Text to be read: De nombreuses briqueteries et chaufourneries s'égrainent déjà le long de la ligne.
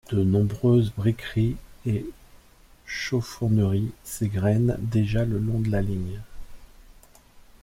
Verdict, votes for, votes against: rejected, 1, 2